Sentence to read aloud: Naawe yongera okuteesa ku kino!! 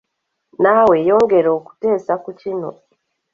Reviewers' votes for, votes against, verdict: 2, 0, accepted